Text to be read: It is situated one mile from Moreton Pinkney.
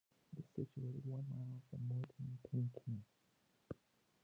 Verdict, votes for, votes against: rejected, 1, 2